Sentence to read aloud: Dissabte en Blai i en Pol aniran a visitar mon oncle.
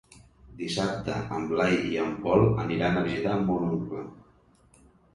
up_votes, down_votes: 2, 0